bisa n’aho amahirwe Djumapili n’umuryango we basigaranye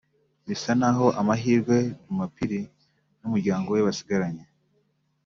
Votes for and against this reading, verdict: 0, 2, rejected